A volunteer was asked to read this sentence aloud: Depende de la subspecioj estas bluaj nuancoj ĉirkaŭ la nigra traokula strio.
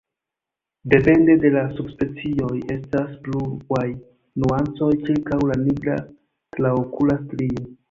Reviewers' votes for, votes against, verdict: 1, 2, rejected